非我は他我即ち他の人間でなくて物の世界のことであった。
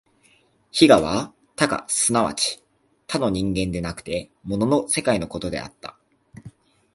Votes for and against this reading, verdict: 2, 0, accepted